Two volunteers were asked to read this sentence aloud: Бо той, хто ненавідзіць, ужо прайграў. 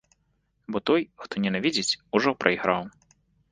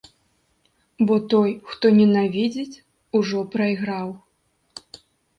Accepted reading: second